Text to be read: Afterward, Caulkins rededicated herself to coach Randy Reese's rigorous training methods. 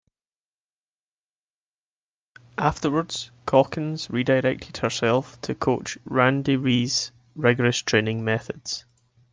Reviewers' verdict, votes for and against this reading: rejected, 0, 2